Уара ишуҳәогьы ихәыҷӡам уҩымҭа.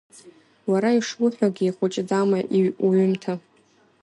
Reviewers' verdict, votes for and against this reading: rejected, 1, 2